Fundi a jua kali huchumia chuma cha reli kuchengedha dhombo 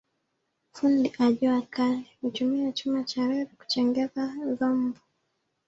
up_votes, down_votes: 1, 2